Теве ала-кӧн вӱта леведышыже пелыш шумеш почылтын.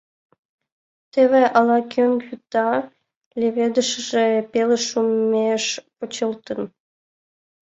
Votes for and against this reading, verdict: 2, 1, accepted